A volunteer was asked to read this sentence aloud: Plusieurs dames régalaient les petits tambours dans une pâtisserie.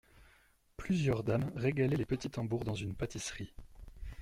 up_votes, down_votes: 2, 0